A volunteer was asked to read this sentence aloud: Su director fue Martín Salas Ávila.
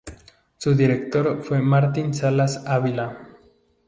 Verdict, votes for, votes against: rejected, 0, 2